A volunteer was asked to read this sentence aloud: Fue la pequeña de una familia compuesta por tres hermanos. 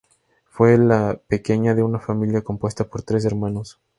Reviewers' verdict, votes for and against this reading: accepted, 4, 2